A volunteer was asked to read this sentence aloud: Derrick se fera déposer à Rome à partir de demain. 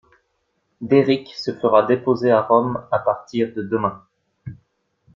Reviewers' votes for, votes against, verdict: 2, 0, accepted